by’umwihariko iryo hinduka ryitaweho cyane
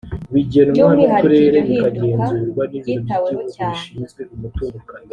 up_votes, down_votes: 2, 1